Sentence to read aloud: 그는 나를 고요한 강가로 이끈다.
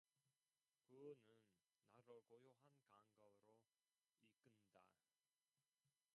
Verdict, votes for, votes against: rejected, 0, 2